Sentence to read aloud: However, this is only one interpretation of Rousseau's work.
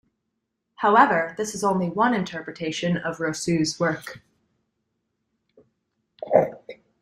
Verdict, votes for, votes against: rejected, 1, 2